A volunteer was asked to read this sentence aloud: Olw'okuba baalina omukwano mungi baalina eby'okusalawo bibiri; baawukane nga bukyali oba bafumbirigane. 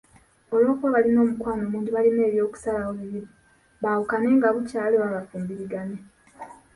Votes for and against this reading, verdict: 2, 0, accepted